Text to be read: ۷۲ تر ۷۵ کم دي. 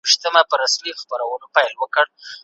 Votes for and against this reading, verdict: 0, 2, rejected